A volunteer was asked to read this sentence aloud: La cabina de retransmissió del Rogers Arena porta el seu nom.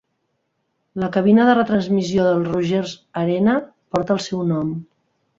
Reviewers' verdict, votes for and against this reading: accepted, 2, 1